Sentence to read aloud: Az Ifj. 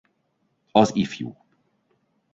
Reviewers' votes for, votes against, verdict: 2, 1, accepted